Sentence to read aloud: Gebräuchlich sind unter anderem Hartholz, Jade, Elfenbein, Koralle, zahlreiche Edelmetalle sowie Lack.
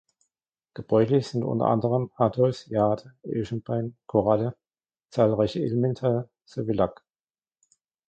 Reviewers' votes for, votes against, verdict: 0, 2, rejected